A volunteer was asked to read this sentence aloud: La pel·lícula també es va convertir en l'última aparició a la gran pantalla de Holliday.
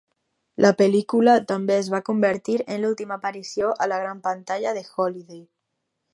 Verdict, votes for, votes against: accepted, 2, 0